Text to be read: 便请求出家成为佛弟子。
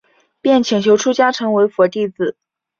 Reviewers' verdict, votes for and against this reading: accepted, 3, 0